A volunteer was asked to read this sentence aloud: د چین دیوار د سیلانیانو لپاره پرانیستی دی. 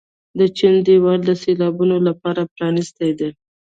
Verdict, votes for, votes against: rejected, 1, 2